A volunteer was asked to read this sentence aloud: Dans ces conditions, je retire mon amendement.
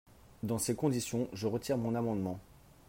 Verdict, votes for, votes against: accepted, 3, 0